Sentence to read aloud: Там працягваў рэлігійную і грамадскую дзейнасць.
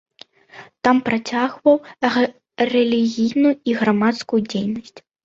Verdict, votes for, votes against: rejected, 1, 2